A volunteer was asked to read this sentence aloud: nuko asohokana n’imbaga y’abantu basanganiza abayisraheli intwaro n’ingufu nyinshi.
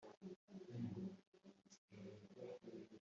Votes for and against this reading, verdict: 1, 2, rejected